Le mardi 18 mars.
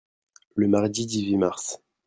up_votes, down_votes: 0, 2